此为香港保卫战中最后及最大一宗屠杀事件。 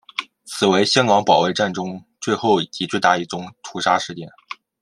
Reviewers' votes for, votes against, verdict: 2, 0, accepted